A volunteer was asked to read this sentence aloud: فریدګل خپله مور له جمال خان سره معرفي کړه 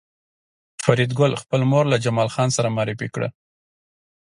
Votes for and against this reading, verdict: 2, 0, accepted